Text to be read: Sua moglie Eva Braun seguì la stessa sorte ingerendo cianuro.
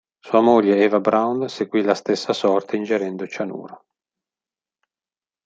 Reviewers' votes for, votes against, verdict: 2, 0, accepted